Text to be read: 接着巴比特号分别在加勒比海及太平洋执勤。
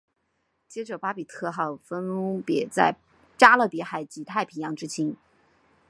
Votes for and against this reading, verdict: 2, 3, rejected